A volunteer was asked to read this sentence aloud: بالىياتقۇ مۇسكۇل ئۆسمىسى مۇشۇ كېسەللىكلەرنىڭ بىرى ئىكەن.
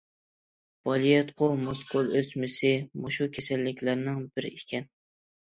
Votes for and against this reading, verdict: 2, 0, accepted